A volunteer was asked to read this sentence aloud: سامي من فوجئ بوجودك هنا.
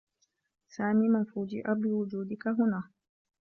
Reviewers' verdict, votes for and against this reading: accepted, 2, 0